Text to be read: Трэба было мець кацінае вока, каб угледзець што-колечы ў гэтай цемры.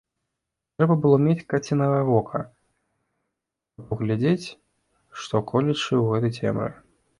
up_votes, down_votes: 0, 2